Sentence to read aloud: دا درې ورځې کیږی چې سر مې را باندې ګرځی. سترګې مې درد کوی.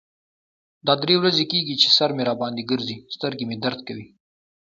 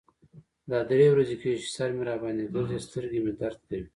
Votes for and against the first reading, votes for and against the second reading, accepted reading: 2, 0, 1, 2, first